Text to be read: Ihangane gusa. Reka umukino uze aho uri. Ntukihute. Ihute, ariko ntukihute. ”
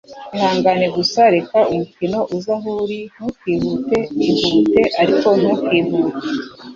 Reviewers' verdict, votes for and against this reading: accepted, 2, 0